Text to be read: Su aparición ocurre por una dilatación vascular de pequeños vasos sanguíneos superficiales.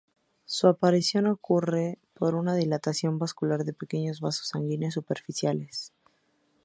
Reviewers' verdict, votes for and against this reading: accepted, 2, 0